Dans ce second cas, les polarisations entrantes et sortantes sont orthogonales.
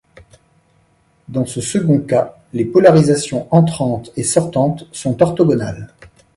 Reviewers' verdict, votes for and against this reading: accepted, 2, 0